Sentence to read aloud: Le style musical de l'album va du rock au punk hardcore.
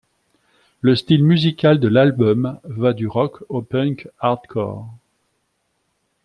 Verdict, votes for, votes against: accepted, 2, 0